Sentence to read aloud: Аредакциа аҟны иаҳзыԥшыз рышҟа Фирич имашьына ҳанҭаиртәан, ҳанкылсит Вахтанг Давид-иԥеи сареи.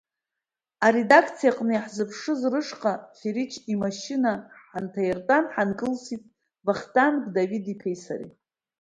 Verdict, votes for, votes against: accepted, 2, 0